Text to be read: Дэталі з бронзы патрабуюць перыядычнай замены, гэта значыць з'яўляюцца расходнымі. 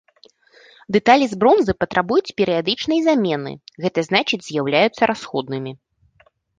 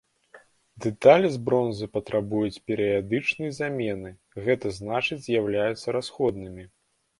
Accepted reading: second